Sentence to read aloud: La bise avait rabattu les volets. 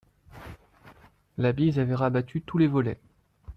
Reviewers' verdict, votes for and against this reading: rejected, 1, 2